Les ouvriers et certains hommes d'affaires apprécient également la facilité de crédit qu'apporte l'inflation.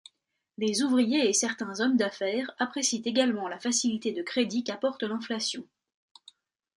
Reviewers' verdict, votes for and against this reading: accepted, 2, 0